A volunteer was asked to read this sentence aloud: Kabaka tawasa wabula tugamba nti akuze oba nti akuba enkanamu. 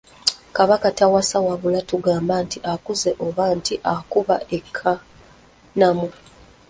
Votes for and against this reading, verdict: 1, 2, rejected